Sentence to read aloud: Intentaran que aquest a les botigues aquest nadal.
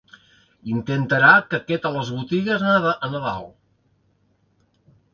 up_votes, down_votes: 0, 2